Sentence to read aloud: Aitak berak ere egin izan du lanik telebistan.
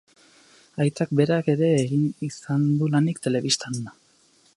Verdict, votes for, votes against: accepted, 2, 0